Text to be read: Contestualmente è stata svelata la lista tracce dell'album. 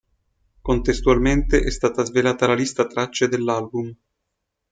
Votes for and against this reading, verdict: 2, 0, accepted